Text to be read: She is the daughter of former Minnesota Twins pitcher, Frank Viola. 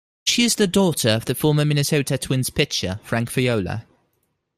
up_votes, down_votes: 1, 2